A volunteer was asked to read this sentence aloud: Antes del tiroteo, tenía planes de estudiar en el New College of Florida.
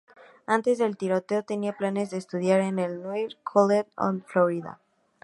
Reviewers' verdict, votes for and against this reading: rejected, 0, 2